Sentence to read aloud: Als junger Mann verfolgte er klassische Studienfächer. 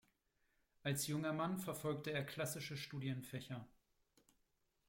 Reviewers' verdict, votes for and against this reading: rejected, 1, 2